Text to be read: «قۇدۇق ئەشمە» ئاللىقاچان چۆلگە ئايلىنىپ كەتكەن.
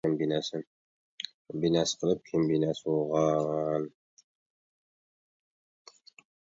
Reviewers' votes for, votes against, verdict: 0, 2, rejected